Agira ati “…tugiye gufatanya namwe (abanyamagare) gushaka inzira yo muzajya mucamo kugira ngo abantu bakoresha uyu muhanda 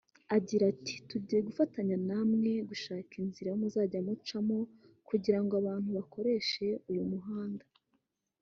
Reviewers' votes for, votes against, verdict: 1, 2, rejected